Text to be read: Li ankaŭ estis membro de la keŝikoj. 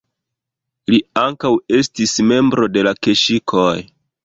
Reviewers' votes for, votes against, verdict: 2, 1, accepted